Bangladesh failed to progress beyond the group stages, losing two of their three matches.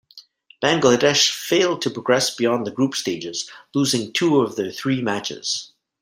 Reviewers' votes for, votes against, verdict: 2, 0, accepted